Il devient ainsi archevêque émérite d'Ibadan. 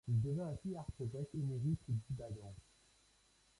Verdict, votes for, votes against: rejected, 0, 2